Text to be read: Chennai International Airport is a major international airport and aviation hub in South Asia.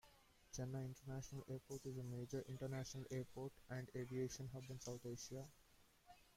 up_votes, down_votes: 1, 2